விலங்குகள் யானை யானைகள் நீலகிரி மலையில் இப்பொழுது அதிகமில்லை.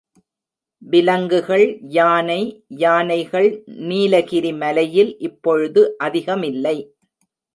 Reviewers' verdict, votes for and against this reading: accepted, 3, 1